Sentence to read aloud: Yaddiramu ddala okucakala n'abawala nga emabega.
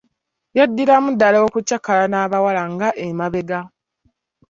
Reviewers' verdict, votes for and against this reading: rejected, 0, 2